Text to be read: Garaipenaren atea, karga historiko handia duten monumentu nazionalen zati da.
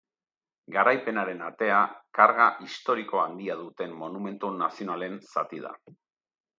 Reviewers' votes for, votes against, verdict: 2, 0, accepted